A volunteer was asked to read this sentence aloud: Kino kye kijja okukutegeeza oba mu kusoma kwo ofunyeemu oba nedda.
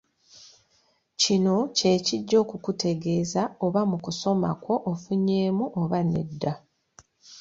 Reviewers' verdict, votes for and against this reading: accepted, 2, 1